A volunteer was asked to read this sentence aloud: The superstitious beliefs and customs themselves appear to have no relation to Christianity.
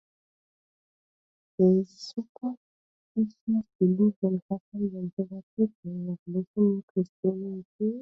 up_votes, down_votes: 0, 2